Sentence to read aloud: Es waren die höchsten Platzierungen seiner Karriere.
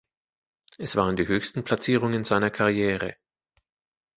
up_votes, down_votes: 2, 0